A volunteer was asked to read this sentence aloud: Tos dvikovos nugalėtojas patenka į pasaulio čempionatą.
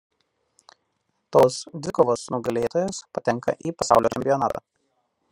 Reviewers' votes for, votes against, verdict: 0, 2, rejected